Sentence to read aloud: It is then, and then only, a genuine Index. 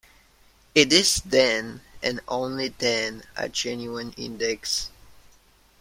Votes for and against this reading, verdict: 0, 2, rejected